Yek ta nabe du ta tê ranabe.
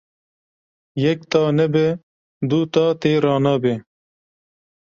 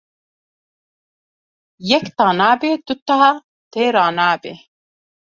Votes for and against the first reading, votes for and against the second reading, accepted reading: 2, 0, 1, 2, first